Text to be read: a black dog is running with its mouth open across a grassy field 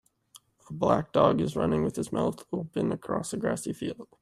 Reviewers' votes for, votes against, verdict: 1, 2, rejected